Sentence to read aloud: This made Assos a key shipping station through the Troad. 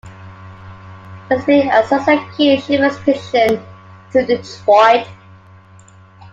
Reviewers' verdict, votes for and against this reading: rejected, 0, 2